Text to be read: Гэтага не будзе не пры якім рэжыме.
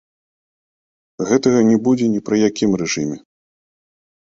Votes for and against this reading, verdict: 1, 2, rejected